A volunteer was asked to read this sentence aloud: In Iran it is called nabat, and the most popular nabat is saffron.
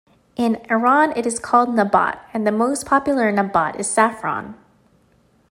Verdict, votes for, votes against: accepted, 2, 0